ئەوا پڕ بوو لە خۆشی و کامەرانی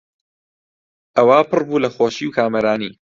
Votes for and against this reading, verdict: 2, 0, accepted